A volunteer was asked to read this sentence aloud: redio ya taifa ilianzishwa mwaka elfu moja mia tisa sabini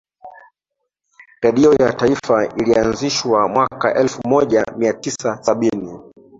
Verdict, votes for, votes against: rejected, 0, 2